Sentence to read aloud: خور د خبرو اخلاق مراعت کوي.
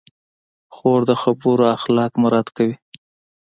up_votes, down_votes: 2, 0